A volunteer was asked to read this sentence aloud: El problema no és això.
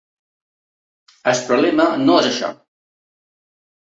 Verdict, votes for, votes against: rejected, 1, 2